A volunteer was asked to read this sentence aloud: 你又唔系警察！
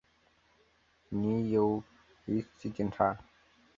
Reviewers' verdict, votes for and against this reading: rejected, 2, 3